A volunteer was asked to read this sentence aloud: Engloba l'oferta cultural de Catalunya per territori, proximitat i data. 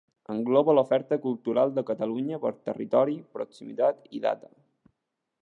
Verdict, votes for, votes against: accepted, 2, 0